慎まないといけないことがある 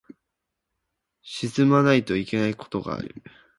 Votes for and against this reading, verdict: 0, 2, rejected